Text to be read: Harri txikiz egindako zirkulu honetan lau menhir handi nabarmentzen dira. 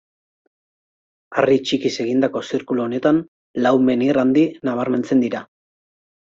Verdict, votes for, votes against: accepted, 2, 0